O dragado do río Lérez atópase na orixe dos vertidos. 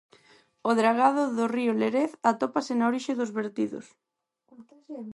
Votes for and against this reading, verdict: 4, 0, accepted